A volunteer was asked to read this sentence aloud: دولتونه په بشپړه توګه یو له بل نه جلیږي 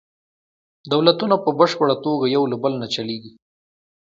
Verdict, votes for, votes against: accepted, 2, 0